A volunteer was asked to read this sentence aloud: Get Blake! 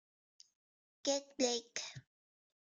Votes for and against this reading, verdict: 2, 0, accepted